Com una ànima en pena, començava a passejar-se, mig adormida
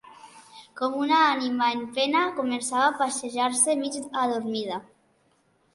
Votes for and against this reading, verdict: 2, 0, accepted